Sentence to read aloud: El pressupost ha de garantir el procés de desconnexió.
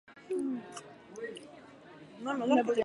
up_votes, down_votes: 2, 4